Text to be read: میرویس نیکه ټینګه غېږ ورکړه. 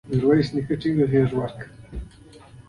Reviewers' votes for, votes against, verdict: 2, 0, accepted